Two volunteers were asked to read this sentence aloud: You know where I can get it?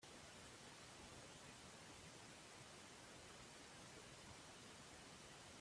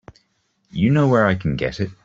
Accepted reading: second